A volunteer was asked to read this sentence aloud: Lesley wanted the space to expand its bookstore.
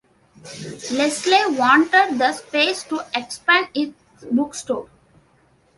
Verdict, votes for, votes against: accepted, 2, 0